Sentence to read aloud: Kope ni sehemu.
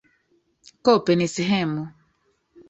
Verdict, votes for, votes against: rejected, 1, 2